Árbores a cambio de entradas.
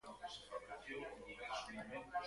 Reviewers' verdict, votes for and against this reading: rejected, 0, 2